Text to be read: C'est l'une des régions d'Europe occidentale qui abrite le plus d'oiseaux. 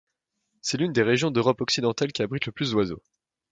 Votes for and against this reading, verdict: 3, 0, accepted